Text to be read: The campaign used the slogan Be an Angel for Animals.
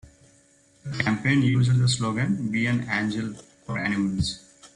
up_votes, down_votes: 2, 1